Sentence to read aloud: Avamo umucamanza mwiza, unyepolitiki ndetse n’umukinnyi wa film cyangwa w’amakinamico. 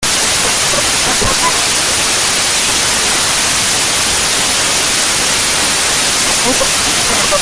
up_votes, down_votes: 0, 2